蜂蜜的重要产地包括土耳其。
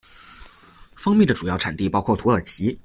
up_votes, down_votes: 1, 2